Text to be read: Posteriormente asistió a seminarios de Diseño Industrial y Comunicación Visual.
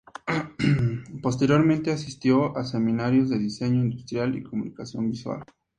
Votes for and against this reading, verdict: 2, 0, accepted